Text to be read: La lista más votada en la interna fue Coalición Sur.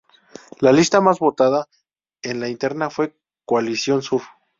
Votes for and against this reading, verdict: 2, 0, accepted